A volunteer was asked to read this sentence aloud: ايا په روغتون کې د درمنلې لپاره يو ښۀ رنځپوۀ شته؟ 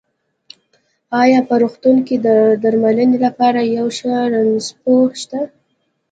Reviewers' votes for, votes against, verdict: 2, 0, accepted